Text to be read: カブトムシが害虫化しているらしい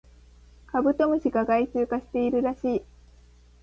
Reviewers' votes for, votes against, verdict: 2, 0, accepted